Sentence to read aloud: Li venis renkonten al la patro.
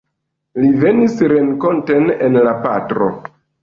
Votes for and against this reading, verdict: 1, 2, rejected